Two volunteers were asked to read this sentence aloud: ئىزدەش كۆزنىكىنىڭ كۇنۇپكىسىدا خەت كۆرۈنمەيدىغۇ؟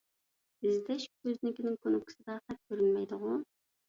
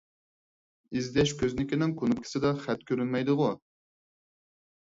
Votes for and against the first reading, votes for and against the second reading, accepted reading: 1, 2, 4, 0, second